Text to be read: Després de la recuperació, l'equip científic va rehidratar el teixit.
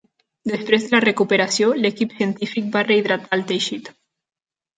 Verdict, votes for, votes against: rejected, 0, 2